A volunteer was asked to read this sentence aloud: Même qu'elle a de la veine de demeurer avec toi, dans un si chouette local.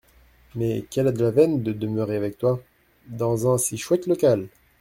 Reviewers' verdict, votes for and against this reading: rejected, 1, 2